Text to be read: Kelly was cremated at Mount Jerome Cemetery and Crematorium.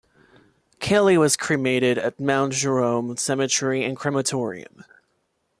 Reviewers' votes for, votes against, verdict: 2, 0, accepted